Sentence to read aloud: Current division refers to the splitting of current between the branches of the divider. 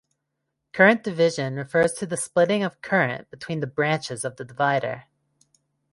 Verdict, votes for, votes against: accepted, 2, 0